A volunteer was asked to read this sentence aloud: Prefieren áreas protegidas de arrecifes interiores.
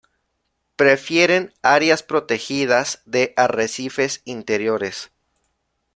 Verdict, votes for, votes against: accepted, 2, 0